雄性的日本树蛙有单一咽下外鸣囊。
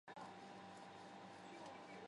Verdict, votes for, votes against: rejected, 1, 2